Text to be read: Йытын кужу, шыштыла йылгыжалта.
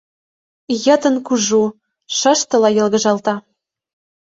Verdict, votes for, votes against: accepted, 2, 0